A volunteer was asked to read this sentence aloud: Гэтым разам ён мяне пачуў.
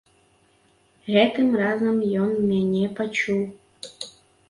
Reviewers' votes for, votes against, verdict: 2, 0, accepted